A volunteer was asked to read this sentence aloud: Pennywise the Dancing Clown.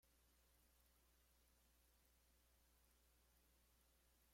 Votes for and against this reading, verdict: 1, 3, rejected